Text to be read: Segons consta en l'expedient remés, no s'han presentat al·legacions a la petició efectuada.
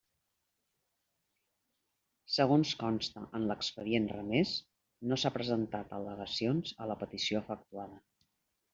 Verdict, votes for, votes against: rejected, 1, 2